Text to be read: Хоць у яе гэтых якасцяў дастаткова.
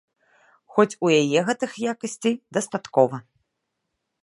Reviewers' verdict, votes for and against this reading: rejected, 1, 2